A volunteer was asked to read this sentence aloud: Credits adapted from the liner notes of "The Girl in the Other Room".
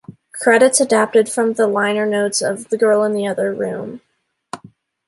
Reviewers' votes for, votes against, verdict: 2, 0, accepted